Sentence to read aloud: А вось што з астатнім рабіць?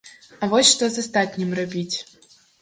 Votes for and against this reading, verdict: 1, 2, rejected